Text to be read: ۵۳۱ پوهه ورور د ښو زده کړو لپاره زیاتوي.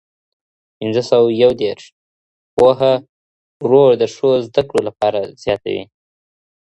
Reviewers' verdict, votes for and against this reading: rejected, 0, 2